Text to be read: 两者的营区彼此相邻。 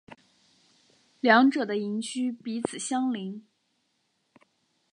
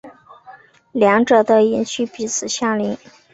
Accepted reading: first